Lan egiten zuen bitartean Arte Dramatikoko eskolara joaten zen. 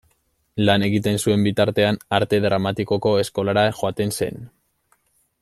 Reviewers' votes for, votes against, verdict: 1, 2, rejected